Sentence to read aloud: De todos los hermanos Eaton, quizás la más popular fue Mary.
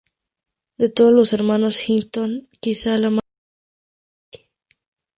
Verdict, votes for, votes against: rejected, 2, 4